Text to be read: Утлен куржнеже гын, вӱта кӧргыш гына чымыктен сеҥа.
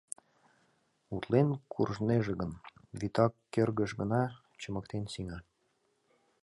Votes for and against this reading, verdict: 2, 0, accepted